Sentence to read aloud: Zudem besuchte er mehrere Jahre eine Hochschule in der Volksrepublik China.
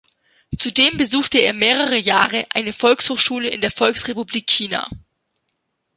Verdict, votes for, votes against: rejected, 1, 2